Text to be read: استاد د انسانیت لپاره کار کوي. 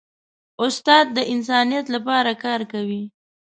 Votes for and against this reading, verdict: 2, 0, accepted